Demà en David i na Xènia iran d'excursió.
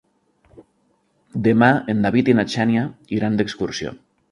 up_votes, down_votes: 2, 0